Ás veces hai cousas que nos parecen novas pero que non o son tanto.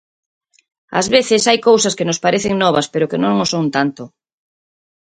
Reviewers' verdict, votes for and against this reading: accepted, 4, 0